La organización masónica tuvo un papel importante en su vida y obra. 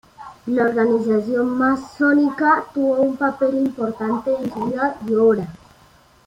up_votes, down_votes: 2, 0